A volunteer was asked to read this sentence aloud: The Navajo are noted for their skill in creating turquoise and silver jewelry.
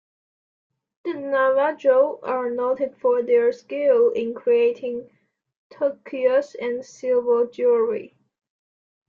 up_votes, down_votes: 1, 2